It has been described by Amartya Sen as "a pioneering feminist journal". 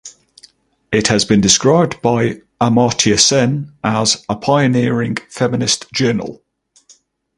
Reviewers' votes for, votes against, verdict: 2, 0, accepted